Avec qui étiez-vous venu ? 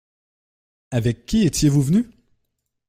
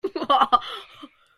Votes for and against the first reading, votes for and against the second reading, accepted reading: 2, 0, 0, 2, first